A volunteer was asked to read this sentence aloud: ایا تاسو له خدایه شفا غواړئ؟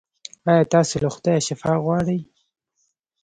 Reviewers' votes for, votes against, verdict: 0, 2, rejected